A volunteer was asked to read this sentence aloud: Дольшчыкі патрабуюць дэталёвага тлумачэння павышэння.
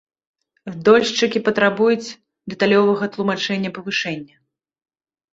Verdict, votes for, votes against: accepted, 2, 0